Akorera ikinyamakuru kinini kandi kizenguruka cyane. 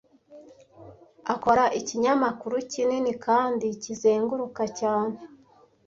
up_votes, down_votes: 1, 2